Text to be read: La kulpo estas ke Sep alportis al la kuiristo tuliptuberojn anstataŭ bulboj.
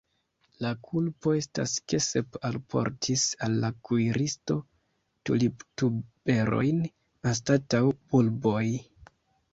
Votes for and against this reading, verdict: 1, 2, rejected